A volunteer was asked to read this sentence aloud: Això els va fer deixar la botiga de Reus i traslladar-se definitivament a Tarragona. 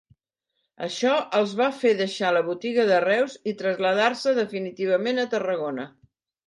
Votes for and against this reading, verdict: 0, 2, rejected